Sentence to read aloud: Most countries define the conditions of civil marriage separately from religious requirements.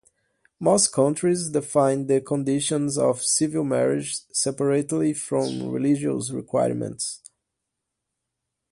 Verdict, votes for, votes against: accepted, 2, 0